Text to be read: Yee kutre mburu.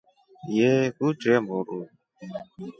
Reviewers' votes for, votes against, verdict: 2, 0, accepted